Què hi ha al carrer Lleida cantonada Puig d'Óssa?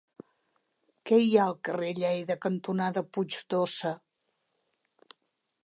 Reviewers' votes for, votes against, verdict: 2, 0, accepted